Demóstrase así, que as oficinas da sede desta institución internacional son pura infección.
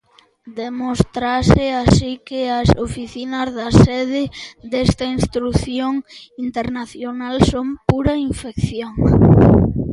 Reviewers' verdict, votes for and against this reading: rejected, 0, 2